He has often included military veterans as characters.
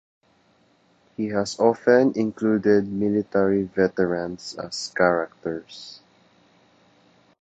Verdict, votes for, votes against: accepted, 2, 0